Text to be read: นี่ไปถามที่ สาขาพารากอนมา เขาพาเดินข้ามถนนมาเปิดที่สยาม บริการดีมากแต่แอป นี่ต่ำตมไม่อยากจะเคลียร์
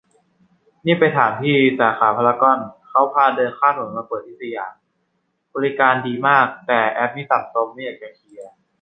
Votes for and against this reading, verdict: 0, 2, rejected